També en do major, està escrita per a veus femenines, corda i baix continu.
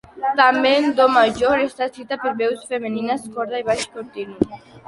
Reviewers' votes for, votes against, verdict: 1, 2, rejected